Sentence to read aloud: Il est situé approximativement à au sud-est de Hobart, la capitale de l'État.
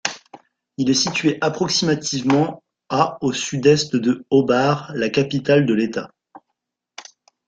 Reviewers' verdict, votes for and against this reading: rejected, 1, 2